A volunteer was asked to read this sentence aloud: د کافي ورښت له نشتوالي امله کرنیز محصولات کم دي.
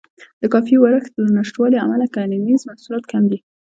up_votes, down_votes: 2, 1